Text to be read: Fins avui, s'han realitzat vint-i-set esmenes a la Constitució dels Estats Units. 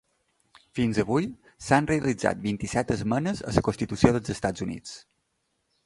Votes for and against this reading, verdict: 2, 1, accepted